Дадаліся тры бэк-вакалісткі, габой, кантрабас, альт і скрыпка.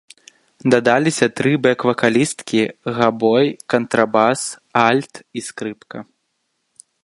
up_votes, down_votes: 2, 1